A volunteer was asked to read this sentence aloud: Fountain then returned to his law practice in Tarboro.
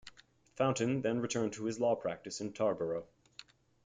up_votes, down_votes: 2, 1